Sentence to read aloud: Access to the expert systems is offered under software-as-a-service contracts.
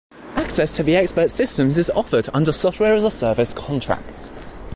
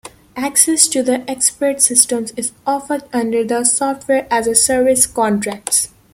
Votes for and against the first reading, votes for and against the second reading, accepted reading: 2, 0, 1, 2, first